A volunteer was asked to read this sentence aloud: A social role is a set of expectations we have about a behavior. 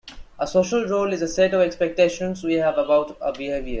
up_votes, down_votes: 1, 2